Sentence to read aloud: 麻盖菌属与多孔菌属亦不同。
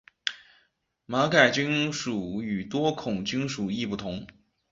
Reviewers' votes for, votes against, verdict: 3, 4, rejected